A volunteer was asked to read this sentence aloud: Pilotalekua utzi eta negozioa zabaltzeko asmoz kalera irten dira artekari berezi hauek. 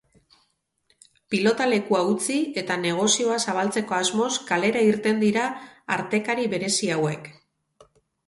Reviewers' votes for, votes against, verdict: 2, 2, rejected